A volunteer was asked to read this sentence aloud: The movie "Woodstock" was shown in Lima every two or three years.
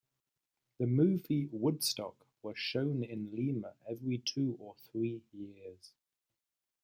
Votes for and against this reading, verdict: 2, 3, rejected